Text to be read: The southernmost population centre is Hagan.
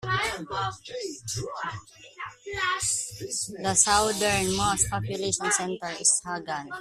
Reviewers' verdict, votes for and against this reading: rejected, 0, 2